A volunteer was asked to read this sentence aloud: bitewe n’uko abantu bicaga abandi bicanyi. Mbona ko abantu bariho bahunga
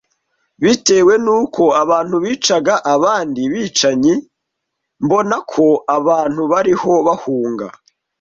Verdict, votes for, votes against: accepted, 2, 0